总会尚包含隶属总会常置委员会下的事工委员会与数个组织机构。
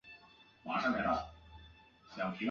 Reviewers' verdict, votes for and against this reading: rejected, 2, 5